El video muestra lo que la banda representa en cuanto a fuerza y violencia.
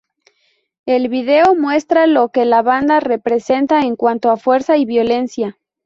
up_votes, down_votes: 2, 0